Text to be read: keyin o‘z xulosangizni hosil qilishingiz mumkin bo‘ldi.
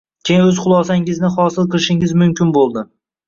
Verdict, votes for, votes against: rejected, 1, 2